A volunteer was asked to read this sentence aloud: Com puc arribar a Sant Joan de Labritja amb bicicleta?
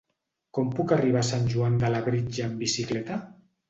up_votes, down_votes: 3, 0